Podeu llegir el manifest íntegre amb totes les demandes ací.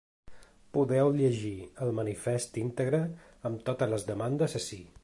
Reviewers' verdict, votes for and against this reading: accepted, 2, 0